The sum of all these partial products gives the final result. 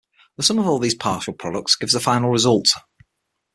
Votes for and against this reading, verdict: 9, 0, accepted